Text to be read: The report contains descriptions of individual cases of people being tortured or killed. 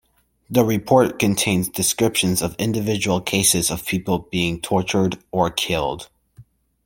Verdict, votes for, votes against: accepted, 2, 0